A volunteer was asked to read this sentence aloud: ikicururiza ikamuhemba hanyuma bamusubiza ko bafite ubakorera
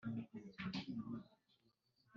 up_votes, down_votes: 2, 3